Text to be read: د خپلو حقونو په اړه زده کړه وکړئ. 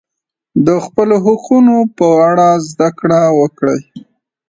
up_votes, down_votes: 2, 0